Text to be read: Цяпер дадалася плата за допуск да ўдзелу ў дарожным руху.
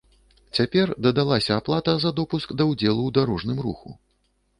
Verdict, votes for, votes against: rejected, 0, 2